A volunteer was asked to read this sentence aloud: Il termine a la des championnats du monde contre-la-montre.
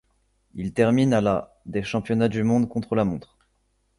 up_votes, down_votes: 2, 0